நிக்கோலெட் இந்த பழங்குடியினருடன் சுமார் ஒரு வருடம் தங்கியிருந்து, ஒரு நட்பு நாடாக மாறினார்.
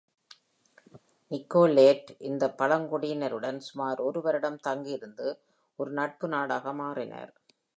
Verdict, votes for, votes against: accepted, 2, 0